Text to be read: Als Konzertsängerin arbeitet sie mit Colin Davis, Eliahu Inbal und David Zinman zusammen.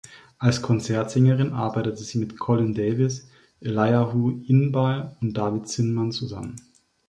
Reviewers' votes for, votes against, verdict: 2, 1, accepted